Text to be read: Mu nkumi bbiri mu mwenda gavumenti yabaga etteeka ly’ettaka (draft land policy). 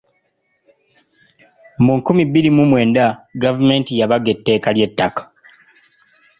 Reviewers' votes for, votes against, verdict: 2, 1, accepted